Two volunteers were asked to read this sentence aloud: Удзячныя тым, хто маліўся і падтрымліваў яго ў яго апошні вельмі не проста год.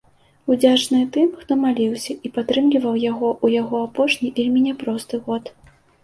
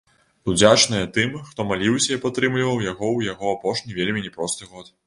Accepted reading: second